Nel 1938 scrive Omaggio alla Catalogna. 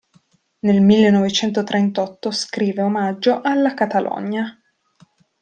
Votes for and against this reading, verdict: 0, 2, rejected